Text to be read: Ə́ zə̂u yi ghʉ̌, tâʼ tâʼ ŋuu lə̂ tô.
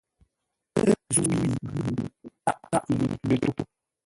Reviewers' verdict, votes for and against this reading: rejected, 1, 2